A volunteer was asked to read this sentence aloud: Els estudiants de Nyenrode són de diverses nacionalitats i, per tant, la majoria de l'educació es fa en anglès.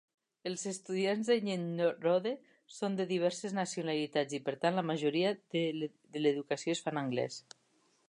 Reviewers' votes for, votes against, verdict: 2, 3, rejected